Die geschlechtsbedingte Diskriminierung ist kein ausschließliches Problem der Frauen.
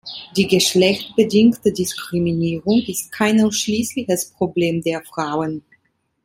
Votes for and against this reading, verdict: 1, 2, rejected